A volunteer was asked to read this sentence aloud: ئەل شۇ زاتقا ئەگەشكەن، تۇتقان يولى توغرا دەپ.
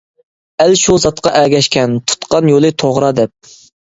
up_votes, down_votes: 2, 0